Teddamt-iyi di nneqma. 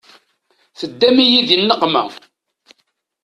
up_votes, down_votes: 1, 2